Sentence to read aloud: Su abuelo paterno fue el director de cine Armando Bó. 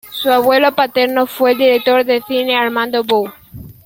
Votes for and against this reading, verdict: 0, 2, rejected